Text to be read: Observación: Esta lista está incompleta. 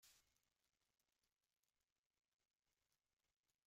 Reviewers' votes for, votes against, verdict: 1, 2, rejected